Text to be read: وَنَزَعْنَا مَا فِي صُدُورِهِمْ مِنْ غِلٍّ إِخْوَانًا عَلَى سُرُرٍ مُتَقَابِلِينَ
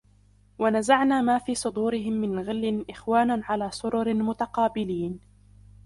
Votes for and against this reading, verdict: 2, 1, accepted